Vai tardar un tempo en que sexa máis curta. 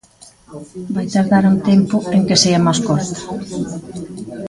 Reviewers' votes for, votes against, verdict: 0, 2, rejected